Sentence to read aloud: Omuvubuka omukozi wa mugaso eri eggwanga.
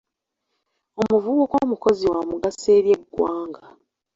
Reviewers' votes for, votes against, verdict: 2, 0, accepted